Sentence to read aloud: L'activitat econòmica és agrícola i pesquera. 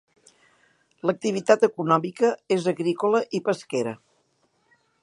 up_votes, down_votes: 3, 1